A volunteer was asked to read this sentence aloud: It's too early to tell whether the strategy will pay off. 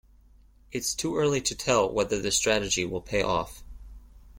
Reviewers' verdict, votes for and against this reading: accepted, 2, 0